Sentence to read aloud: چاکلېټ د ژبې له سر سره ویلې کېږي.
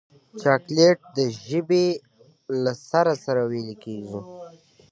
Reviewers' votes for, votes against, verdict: 2, 0, accepted